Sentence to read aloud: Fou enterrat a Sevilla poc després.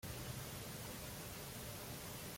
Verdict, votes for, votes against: rejected, 0, 2